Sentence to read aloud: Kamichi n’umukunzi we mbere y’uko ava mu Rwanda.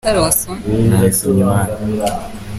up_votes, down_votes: 0, 2